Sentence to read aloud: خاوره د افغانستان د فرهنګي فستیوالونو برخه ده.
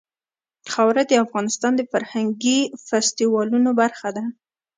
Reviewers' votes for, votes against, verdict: 2, 0, accepted